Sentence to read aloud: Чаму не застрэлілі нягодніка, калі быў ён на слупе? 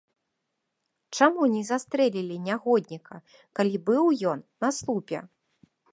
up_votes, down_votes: 1, 2